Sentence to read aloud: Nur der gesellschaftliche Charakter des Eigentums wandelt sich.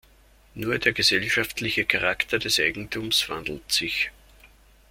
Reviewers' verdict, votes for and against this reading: accepted, 2, 0